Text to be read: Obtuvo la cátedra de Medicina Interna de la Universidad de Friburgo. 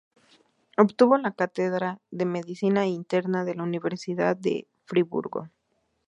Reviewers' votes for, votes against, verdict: 0, 2, rejected